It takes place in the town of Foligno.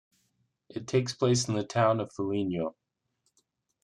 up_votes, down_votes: 2, 0